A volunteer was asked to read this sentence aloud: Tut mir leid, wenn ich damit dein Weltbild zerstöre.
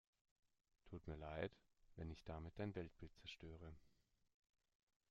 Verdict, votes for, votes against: accepted, 2, 0